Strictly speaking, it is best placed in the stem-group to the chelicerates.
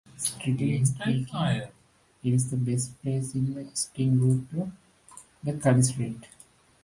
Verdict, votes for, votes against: rejected, 0, 2